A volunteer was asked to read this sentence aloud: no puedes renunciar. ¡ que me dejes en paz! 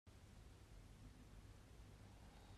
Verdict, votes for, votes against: rejected, 0, 2